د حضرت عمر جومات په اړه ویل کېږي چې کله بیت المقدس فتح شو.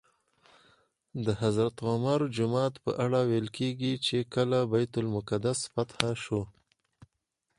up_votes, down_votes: 2, 4